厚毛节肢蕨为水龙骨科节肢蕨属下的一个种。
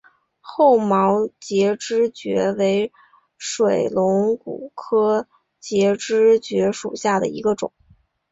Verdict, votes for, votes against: accepted, 2, 0